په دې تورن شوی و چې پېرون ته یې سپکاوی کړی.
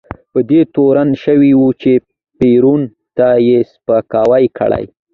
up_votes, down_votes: 2, 1